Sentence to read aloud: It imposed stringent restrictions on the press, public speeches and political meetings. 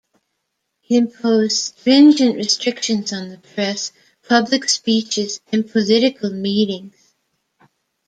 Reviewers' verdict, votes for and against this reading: rejected, 1, 3